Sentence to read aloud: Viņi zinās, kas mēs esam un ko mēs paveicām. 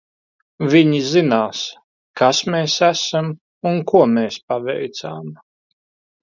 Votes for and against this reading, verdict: 2, 1, accepted